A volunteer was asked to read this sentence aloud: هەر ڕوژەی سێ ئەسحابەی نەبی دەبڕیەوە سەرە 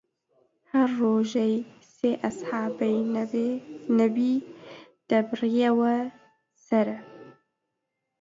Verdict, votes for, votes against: rejected, 0, 2